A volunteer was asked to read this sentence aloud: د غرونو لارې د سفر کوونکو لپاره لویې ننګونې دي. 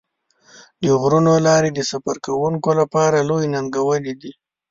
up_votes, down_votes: 2, 0